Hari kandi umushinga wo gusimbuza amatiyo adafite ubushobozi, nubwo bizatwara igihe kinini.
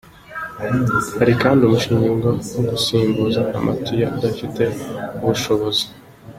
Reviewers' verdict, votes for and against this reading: rejected, 0, 3